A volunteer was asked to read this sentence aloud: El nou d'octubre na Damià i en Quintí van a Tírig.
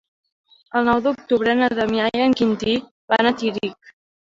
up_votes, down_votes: 2, 0